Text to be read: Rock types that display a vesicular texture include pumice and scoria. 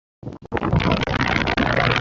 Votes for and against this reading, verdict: 0, 2, rejected